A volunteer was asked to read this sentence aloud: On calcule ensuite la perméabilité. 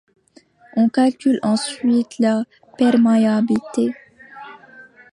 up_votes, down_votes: 0, 2